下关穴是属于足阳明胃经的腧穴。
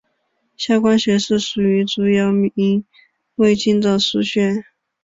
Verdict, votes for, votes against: rejected, 1, 3